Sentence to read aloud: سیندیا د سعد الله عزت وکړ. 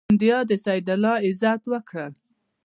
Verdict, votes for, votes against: accepted, 2, 0